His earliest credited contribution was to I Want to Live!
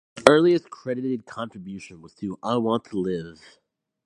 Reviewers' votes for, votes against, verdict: 0, 4, rejected